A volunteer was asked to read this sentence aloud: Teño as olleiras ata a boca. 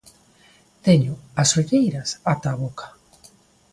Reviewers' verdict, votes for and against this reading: accepted, 2, 0